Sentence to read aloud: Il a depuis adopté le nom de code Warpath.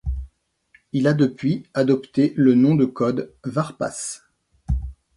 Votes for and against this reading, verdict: 1, 2, rejected